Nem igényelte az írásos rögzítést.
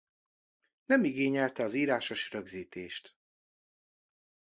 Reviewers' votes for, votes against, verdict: 2, 0, accepted